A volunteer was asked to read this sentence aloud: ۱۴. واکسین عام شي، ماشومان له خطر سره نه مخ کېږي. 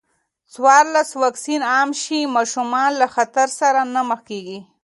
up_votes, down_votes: 0, 2